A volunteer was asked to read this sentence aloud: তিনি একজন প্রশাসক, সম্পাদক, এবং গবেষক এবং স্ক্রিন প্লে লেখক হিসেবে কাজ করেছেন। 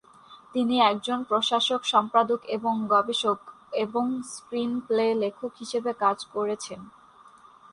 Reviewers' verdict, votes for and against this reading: accepted, 4, 0